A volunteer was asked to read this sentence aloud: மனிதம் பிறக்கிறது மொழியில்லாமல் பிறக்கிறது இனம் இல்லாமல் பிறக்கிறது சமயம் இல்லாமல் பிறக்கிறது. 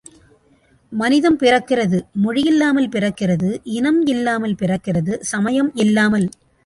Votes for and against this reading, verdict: 1, 2, rejected